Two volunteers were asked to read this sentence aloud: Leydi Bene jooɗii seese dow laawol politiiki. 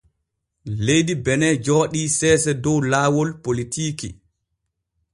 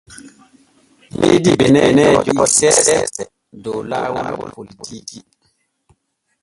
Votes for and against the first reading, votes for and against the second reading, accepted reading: 3, 0, 0, 2, first